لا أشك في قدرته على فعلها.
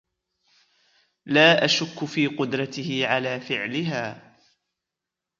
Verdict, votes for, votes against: accepted, 2, 0